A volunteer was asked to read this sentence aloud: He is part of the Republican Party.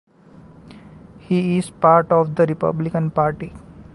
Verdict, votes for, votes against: accepted, 2, 0